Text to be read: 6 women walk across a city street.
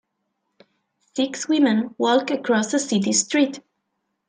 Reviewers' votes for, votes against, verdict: 0, 2, rejected